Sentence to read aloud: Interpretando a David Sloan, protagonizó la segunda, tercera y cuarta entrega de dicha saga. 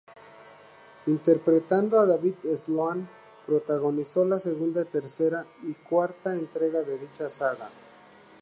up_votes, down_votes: 4, 0